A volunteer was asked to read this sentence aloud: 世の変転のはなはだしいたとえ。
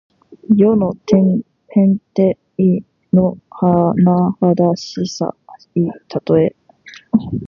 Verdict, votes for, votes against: rejected, 0, 2